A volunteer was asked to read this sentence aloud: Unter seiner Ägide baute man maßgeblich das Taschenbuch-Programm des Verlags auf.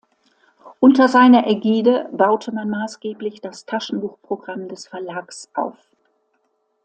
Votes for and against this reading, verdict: 2, 0, accepted